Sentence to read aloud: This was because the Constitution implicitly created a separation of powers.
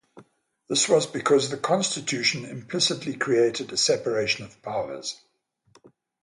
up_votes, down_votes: 3, 0